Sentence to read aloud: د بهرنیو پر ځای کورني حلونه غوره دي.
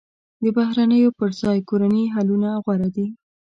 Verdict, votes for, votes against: accepted, 2, 0